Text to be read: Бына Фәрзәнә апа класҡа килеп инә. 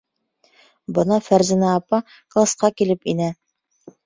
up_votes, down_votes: 3, 0